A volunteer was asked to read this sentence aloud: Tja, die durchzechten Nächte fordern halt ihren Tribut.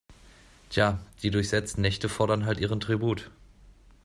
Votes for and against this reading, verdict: 0, 2, rejected